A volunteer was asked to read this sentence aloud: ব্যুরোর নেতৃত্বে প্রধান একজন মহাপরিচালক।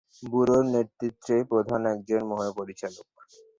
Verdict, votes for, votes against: accepted, 4, 2